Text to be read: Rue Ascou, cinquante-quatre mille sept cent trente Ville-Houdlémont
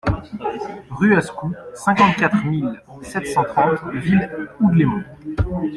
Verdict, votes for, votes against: accepted, 2, 0